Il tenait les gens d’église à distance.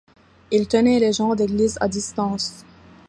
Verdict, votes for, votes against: accepted, 2, 0